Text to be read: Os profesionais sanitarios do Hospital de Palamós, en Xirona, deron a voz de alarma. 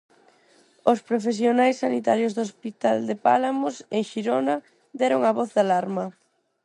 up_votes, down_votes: 0, 4